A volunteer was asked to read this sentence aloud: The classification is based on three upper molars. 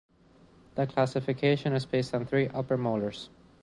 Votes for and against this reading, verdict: 2, 0, accepted